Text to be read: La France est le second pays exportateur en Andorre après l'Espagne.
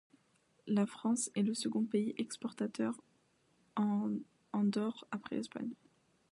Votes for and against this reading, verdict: 1, 2, rejected